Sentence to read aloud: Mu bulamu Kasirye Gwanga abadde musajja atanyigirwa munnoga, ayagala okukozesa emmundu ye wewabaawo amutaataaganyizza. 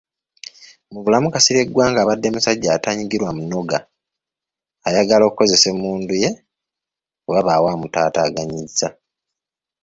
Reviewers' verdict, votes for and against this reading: rejected, 1, 2